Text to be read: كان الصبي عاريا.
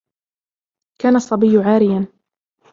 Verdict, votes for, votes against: rejected, 1, 2